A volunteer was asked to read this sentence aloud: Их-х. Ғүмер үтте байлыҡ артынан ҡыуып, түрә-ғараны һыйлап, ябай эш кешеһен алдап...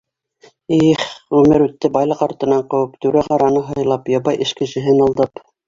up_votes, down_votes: 3, 0